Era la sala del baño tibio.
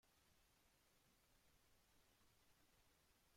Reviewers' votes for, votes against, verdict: 0, 2, rejected